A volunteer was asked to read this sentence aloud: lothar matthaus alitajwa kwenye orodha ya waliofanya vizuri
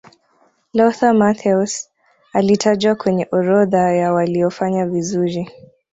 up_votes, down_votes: 2, 0